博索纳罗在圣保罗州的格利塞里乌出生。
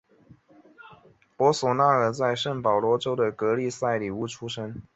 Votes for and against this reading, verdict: 4, 0, accepted